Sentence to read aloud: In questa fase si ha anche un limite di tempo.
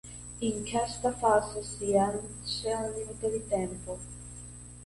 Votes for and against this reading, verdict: 0, 2, rejected